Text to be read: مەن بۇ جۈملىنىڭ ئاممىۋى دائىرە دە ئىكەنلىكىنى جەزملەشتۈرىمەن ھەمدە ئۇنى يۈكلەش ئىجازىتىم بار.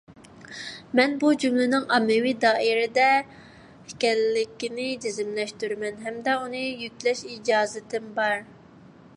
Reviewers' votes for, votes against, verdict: 2, 0, accepted